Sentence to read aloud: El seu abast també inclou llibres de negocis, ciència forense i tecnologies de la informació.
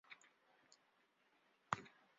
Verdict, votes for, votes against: rejected, 0, 2